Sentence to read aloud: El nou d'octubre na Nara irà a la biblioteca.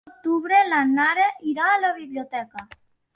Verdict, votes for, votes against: rejected, 1, 2